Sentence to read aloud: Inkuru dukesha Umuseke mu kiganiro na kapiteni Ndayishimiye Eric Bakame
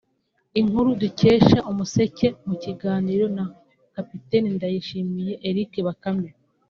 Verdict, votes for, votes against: accepted, 2, 0